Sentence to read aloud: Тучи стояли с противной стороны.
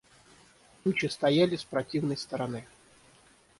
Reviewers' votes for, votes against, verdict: 6, 0, accepted